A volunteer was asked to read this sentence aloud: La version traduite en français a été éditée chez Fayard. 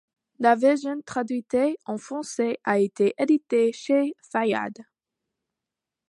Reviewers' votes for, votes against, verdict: 0, 2, rejected